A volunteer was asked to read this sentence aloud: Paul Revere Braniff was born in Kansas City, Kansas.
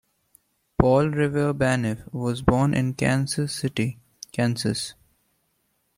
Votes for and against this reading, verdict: 1, 2, rejected